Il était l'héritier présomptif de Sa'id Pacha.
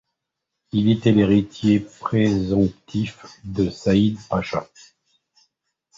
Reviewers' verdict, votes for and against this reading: accepted, 2, 1